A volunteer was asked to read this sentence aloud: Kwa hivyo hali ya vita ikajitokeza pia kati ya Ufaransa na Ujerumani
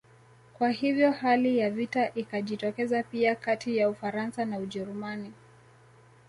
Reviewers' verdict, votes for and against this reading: accepted, 2, 1